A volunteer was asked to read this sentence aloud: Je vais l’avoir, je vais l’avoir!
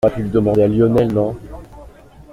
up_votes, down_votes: 0, 2